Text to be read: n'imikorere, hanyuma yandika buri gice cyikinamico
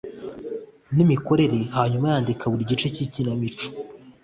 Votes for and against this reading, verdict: 2, 0, accepted